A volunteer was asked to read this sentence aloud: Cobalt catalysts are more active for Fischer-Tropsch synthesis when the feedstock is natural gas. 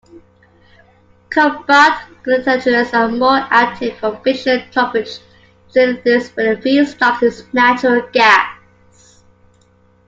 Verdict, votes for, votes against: rejected, 0, 2